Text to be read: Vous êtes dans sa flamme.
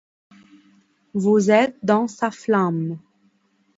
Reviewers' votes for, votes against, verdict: 2, 0, accepted